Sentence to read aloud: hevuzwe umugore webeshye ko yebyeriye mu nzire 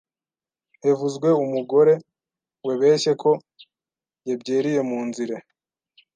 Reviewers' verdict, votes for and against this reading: rejected, 1, 2